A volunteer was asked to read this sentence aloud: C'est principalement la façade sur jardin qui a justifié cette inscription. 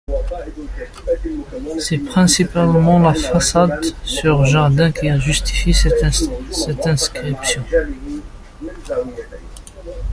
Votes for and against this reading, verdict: 1, 2, rejected